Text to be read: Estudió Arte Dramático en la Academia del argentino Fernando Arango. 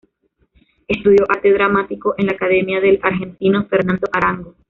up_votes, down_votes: 2, 0